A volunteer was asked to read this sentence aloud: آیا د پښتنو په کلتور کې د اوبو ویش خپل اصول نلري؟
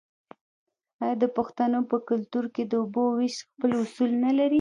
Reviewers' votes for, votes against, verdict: 2, 1, accepted